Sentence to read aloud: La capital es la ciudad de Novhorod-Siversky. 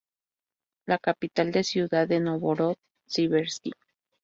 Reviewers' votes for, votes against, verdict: 0, 2, rejected